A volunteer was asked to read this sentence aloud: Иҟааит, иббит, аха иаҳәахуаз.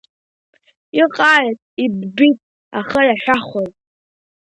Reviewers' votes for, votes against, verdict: 1, 2, rejected